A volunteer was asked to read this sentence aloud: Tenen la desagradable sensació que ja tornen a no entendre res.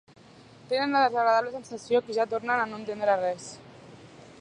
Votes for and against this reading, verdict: 0, 2, rejected